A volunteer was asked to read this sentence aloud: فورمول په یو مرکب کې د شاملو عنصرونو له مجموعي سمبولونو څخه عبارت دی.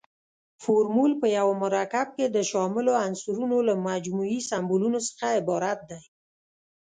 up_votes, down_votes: 2, 0